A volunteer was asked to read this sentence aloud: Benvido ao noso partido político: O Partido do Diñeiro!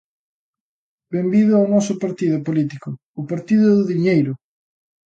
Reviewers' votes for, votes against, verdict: 2, 0, accepted